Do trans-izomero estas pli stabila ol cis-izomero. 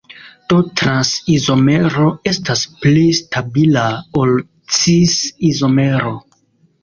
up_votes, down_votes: 2, 1